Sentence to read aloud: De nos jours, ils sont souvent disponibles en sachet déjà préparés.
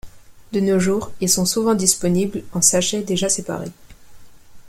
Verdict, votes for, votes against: rejected, 0, 2